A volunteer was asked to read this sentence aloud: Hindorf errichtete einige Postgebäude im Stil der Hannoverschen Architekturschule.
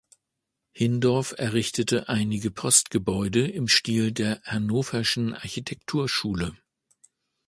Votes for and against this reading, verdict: 2, 0, accepted